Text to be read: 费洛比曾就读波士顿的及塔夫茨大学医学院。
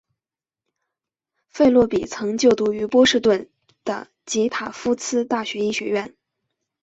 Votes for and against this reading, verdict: 2, 1, accepted